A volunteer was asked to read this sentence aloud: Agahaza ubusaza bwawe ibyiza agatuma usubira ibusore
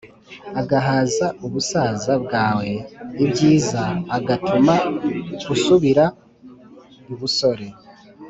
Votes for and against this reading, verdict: 2, 0, accepted